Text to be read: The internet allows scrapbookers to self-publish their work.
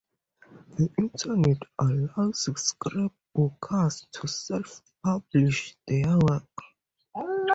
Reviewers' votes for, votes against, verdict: 2, 2, rejected